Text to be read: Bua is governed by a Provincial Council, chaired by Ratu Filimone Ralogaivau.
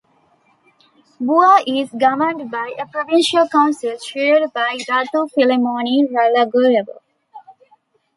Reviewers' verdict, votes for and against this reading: rejected, 1, 2